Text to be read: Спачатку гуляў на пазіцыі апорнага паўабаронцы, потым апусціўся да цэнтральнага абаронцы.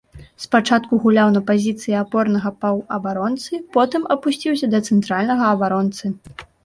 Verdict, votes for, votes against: accepted, 3, 0